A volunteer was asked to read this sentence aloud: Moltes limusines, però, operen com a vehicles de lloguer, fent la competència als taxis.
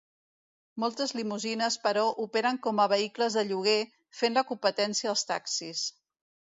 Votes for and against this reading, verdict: 2, 0, accepted